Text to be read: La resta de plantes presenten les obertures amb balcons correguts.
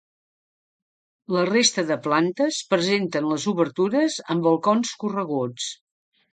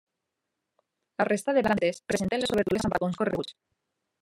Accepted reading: first